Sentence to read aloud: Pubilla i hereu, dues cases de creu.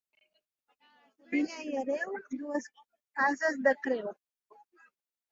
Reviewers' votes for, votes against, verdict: 1, 2, rejected